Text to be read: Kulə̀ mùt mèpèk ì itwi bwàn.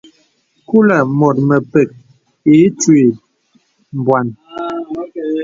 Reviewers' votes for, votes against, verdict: 2, 0, accepted